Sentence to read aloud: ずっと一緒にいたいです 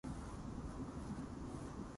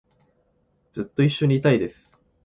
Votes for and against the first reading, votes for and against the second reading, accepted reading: 0, 2, 2, 0, second